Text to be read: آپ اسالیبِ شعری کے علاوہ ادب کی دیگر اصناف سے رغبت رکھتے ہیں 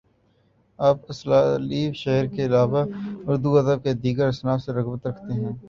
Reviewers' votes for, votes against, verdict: 2, 1, accepted